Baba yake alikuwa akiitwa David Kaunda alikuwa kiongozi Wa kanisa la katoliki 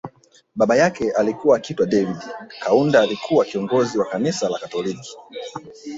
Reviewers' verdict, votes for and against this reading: rejected, 1, 2